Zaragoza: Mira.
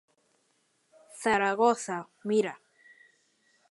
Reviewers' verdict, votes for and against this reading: accepted, 2, 0